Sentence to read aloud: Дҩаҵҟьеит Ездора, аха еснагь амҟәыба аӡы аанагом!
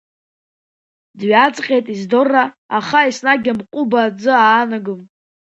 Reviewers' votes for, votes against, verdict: 2, 0, accepted